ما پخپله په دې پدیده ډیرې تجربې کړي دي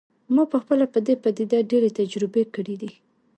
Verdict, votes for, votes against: accepted, 2, 0